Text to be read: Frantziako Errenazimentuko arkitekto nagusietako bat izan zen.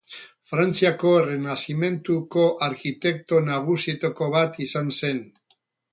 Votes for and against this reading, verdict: 6, 0, accepted